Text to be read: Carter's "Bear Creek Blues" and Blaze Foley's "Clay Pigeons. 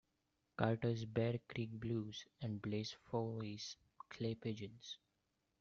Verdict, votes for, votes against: accepted, 2, 1